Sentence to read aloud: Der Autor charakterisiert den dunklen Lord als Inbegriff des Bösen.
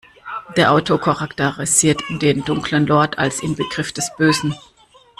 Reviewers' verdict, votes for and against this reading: rejected, 1, 2